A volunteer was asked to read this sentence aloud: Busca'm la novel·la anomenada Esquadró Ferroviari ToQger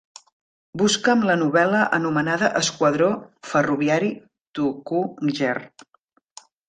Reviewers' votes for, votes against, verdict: 0, 2, rejected